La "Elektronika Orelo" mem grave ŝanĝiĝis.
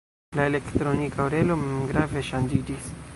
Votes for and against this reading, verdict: 1, 2, rejected